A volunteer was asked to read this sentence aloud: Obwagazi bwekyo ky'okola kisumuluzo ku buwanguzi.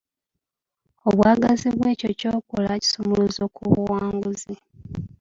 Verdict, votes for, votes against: accepted, 2, 0